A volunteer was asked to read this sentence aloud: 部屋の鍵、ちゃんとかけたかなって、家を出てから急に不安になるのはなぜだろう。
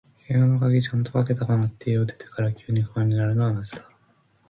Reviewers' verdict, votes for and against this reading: accepted, 2, 0